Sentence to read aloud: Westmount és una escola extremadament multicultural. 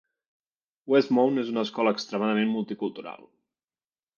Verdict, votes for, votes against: accepted, 3, 0